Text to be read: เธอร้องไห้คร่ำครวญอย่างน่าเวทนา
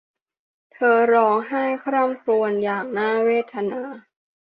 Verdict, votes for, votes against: accepted, 2, 0